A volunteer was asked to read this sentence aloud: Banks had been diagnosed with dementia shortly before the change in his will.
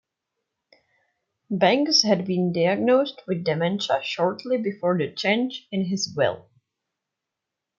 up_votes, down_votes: 1, 2